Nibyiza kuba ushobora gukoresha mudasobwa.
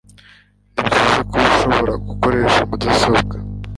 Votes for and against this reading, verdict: 1, 2, rejected